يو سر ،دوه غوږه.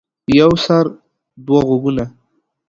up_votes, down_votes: 1, 2